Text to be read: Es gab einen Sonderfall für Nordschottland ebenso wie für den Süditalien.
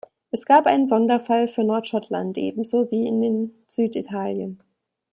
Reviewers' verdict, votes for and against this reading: rejected, 0, 2